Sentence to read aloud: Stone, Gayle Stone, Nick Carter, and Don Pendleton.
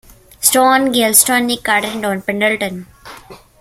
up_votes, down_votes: 2, 1